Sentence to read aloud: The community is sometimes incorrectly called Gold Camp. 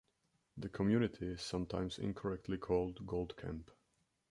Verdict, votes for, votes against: accepted, 2, 0